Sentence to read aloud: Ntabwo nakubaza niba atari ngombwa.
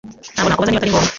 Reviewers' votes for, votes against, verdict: 0, 2, rejected